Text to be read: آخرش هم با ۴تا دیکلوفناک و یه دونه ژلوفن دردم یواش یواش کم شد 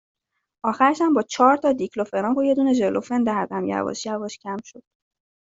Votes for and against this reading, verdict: 0, 2, rejected